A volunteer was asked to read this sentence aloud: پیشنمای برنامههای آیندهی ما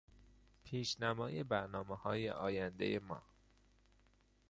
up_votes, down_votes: 2, 0